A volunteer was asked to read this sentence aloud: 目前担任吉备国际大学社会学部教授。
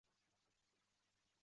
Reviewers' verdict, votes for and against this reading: rejected, 1, 2